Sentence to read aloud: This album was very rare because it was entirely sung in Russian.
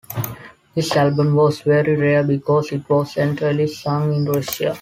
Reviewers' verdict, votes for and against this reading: rejected, 1, 3